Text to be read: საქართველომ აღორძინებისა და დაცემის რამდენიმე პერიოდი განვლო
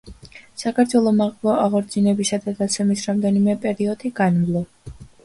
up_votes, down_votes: 2, 0